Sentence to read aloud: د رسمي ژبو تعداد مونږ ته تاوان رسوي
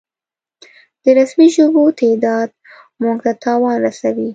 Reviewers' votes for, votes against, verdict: 2, 0, accepted